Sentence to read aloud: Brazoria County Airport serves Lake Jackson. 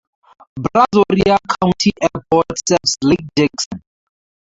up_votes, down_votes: 4, 12